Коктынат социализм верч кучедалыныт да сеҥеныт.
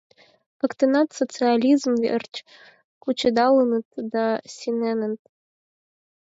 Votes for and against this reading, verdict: 0, 4, rejected